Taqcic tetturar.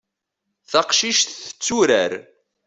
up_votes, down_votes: 2, 0